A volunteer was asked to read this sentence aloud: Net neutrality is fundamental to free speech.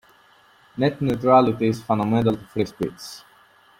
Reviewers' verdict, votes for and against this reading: rejected, 1, 2